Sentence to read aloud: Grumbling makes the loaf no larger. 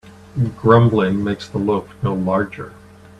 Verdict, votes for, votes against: accepted, 2, 0